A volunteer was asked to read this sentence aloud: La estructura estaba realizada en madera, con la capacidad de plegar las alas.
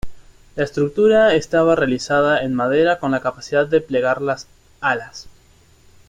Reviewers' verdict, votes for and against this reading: accepted, 2, 0